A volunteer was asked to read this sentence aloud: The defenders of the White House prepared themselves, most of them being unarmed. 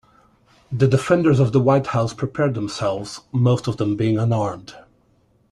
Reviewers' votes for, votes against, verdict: 2, 0, accepted